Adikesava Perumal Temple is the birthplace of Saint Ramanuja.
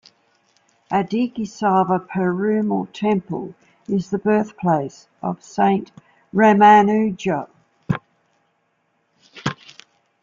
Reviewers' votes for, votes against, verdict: 2, 0, accepted